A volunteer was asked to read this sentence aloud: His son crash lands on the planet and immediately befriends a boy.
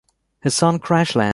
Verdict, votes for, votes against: rejected, 0, 2